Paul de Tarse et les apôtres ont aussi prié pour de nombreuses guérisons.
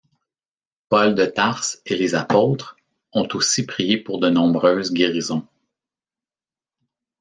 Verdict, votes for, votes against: accepted, 2, 0